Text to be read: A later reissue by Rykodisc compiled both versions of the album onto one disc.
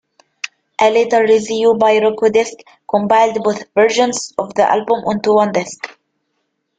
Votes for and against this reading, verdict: 1, 2, rejected